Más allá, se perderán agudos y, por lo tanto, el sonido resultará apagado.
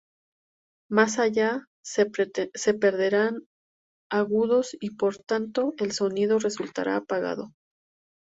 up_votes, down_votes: 2, 2